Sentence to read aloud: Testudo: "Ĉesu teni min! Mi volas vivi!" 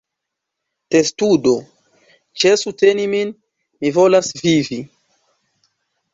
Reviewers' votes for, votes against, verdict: 2, 0, accepted